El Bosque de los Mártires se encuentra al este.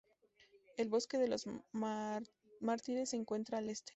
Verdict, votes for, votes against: rejected, 0, 4